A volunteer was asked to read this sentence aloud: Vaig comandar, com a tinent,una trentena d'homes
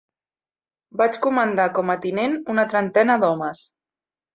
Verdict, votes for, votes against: accepted, 3, 0